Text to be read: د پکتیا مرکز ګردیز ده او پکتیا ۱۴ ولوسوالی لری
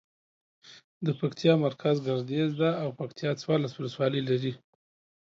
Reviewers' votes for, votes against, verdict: 0, 2, rejected